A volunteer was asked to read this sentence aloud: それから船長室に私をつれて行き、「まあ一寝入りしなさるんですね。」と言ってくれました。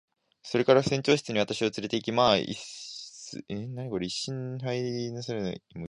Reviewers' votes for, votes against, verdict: 6, 10, rejected